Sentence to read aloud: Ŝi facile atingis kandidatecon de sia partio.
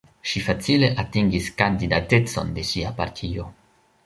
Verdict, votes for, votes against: rejected, 0, 2